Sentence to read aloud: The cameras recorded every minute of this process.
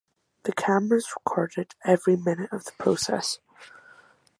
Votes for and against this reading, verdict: 0, 8, rejected